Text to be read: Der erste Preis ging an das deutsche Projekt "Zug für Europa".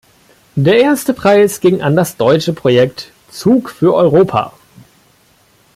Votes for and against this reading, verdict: 1, 2, rejected